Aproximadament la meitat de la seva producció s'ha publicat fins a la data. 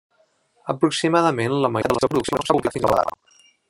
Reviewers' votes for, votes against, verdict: 0, 2, rejected